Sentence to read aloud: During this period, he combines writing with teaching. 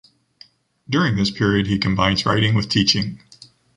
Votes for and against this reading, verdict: 2, 0, accepted